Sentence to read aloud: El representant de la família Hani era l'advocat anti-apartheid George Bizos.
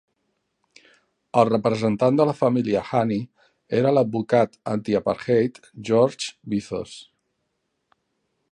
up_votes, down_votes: 1, 2